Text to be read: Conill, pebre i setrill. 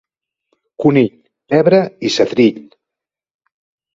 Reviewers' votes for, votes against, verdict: 2, 0, accepted